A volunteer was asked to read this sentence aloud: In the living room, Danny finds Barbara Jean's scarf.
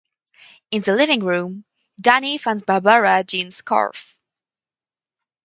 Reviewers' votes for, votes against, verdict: 2, 2, rejected